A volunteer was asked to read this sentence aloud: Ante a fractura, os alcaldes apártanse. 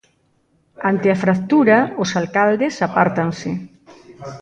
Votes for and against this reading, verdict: 0, 2, rejected